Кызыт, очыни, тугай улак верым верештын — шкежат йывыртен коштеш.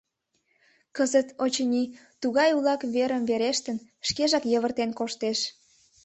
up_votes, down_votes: 2, 0